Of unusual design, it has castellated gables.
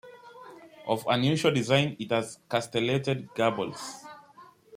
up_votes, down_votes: 0, 2